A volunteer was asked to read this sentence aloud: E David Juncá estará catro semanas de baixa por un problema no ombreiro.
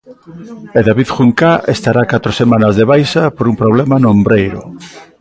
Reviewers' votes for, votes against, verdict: 2, 0, accepted